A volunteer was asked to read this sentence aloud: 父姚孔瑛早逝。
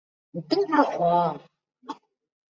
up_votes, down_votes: 1, 2